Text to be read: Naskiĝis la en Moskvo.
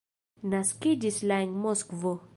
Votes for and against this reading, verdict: 0, 2, rejected